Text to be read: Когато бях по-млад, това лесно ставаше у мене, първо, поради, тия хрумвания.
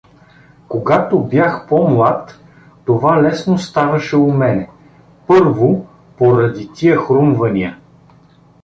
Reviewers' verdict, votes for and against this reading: accepted, 2, 1